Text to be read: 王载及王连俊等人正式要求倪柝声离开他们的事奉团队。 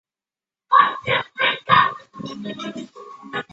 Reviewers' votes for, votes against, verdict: 0, 2, rejected